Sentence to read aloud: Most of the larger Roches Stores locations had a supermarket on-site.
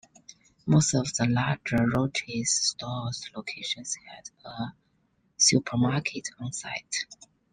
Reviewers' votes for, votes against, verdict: 2, 0, accepted